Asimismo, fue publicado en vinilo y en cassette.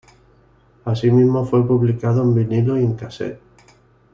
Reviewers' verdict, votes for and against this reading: rejected, 0, 2